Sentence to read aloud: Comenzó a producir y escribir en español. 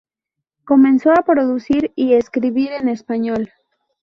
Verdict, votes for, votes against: accepted, 2, 0